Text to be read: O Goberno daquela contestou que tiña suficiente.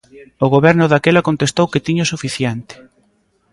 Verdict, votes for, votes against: rejected, 1, 2